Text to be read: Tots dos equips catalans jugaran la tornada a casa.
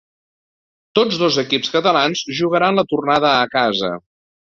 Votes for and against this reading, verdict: 2, 0, accepted